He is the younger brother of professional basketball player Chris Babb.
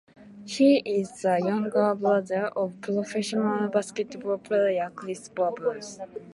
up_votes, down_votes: 0, 2